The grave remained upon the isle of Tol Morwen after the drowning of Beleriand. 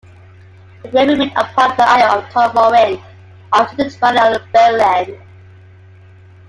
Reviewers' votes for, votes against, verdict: 0, 2, rejected